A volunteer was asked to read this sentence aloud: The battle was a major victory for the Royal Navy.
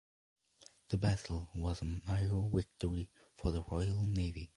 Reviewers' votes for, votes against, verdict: 2, 0, accepted